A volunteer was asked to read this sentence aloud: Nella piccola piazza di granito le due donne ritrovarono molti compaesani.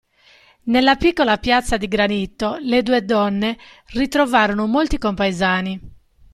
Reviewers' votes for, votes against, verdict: 2, 0, accepted